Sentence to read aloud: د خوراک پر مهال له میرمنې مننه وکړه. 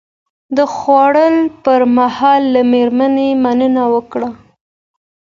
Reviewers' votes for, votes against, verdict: 2, 0, accepted